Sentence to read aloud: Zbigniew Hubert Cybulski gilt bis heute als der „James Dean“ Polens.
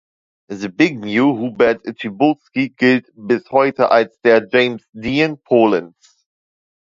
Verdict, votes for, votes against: rejected, 1, 2